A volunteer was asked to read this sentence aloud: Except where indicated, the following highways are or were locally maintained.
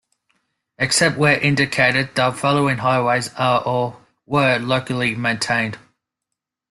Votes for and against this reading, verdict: 2, 0, accepted